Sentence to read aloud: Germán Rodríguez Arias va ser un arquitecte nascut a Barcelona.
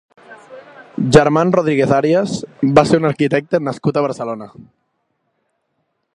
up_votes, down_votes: 2, 0